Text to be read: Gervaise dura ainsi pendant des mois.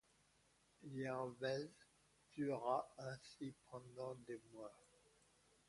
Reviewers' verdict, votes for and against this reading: rejected, 0, 2